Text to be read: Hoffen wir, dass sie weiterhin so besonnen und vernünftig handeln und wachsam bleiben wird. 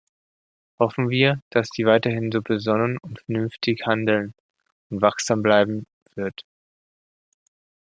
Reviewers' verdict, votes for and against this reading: accepted, 2, 1